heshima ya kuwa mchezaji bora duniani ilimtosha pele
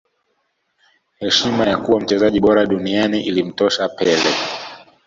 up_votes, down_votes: 2, 0